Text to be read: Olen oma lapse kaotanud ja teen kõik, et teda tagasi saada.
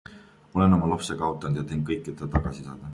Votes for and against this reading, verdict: 2, 0, accepted